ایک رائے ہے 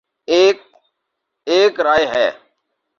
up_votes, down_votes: 0, 2